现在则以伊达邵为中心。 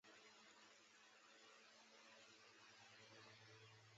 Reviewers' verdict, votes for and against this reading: rejected, 0, 2